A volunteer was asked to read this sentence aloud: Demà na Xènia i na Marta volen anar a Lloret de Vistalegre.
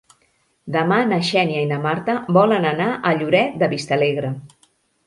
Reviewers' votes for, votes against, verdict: 3, 0, accepted